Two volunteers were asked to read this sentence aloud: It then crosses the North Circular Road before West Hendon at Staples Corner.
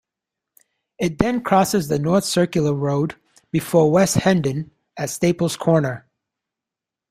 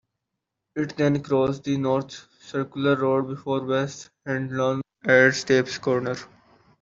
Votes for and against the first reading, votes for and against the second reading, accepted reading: 2, 0, 0, 2, first